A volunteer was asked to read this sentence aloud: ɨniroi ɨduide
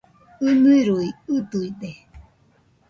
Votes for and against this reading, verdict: 0, 2, rejected